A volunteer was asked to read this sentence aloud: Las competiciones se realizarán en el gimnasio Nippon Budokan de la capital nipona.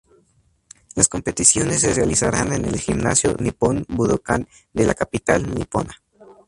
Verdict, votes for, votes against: rejected, 0, 2